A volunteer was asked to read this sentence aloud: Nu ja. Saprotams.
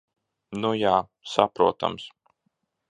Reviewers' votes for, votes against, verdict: 0, 2, rejected